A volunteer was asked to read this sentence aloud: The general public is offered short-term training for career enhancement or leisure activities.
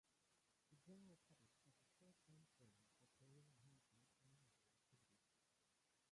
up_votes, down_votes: 0, 2